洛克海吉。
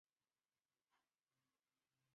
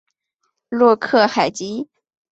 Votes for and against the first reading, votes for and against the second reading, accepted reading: 1, 2, 5, 0, second